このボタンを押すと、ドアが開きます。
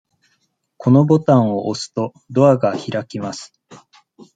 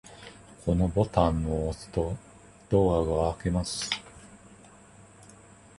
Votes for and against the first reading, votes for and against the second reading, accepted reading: 2, 0, 1, 2, first